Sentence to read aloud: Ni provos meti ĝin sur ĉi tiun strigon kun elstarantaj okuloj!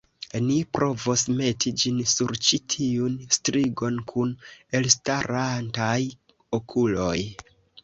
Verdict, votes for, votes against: accepted, 2, 0